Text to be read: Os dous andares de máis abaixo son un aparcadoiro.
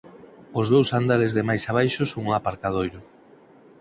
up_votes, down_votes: 4, 0